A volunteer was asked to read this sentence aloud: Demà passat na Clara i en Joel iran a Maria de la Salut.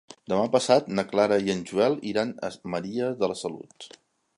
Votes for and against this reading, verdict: 1, 2, rejected